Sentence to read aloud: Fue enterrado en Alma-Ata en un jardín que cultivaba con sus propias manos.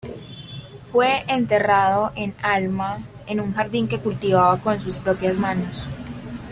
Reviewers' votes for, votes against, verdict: 0, 2, rejected